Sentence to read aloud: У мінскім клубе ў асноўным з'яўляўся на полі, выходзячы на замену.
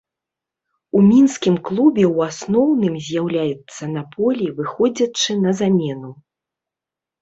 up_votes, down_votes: 0, 2